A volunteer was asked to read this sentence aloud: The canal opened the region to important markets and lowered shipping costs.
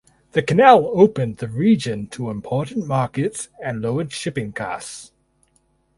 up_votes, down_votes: 4, 0